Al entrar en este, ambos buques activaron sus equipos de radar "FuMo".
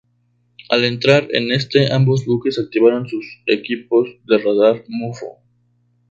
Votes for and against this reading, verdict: 0, 2, rejected